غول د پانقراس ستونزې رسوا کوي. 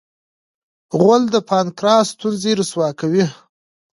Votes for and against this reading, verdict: 1, 2, rejected